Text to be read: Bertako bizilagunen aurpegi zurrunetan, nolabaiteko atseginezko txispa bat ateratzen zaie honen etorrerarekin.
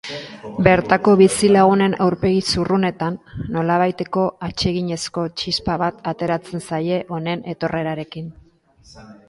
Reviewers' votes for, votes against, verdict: 3, 0, accepted